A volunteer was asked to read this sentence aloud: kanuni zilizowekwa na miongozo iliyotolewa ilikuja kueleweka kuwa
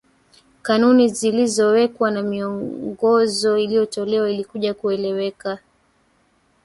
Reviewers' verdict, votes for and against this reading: accepted, 2, 1